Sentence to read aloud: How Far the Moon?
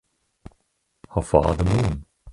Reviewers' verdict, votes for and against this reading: rejected, 2, 4